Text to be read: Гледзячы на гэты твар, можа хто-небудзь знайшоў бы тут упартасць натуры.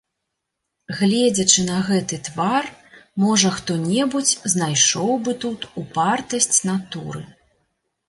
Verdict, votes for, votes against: accepted, 2, 0